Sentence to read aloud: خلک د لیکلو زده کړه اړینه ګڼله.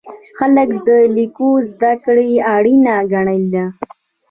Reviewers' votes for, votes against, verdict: 1, 2, rejected